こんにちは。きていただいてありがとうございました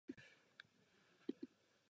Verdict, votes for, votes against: rejected, 1, 2